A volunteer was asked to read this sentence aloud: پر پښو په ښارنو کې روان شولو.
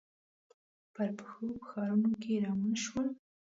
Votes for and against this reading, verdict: 2, 1, accepted